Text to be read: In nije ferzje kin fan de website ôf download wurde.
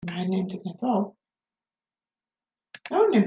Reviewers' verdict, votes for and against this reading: rejected, 0, 2